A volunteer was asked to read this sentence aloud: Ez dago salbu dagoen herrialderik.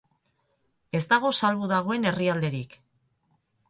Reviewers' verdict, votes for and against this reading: accepted, 2, 0